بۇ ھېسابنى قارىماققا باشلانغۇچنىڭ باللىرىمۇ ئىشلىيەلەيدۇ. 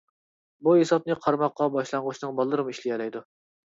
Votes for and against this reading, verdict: 2, 0, accepted